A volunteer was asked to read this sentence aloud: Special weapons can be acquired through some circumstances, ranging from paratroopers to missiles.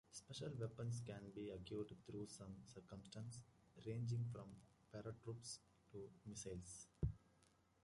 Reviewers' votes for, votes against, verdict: 0, 2, rejected